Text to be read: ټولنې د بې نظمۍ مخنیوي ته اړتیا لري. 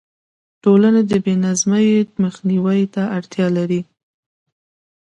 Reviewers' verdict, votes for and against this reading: accepted, 2, 0